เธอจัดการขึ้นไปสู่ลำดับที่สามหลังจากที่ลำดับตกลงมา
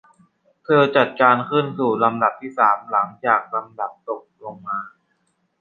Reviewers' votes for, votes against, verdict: 0, 2, rejected